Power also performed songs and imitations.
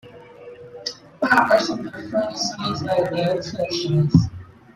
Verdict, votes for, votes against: rejected, 0, 2